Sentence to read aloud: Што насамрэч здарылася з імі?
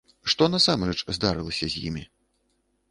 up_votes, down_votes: 2, 0